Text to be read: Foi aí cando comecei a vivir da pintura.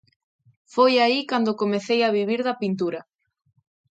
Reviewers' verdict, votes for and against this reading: accepted, 2, 0